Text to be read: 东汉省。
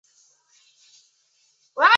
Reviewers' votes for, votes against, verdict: 0, 3, rejected